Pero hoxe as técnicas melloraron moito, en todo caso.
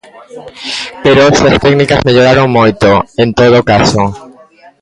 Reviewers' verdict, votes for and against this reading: rejected, 1, 2